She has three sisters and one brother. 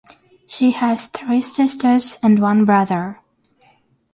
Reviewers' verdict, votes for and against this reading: accepted, 6, 3